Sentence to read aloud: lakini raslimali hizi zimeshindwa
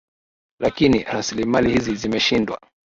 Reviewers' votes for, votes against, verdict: 4, 1, accepted